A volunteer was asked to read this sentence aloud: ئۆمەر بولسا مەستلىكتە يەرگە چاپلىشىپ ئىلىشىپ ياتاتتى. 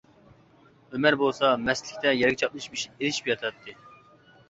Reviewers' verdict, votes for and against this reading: rejected, 0, 2